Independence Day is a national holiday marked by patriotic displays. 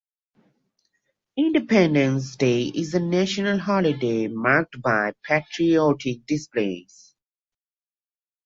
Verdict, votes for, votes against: accepted, 2, 0